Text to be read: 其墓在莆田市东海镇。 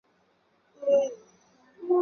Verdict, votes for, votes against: rejected, 0, 2